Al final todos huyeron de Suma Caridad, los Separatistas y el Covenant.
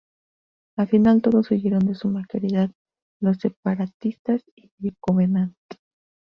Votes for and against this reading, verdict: 2, 0, accepted